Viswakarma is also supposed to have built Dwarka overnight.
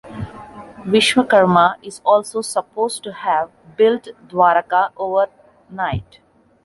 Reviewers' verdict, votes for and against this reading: accepted, 2, 0